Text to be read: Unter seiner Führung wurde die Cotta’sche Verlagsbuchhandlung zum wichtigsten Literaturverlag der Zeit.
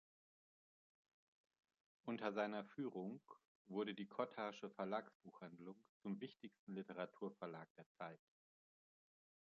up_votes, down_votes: 1, 2